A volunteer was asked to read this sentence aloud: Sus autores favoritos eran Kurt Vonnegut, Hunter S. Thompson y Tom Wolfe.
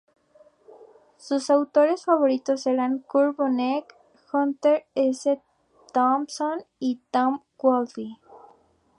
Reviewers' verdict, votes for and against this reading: rejected, 0, 4